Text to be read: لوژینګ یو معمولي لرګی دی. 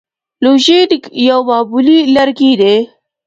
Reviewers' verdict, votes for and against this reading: rejected, 1, 2